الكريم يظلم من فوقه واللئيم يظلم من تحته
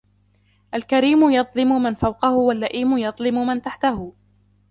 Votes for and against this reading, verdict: 0, 2, rejected